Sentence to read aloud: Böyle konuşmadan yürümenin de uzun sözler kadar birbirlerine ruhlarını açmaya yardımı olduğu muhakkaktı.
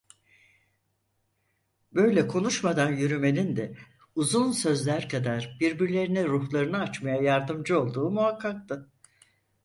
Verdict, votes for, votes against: rejected, 2, 4